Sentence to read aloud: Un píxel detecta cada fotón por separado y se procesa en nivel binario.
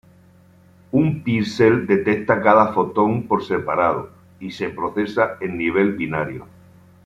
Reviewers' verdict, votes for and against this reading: rejected, 1, 2